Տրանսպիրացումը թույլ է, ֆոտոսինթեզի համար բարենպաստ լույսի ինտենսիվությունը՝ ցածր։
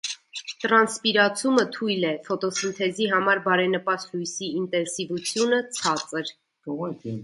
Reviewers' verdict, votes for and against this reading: rejected, 0, 2